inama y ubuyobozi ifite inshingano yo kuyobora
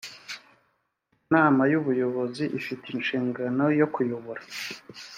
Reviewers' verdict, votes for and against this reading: accepted, 2, 1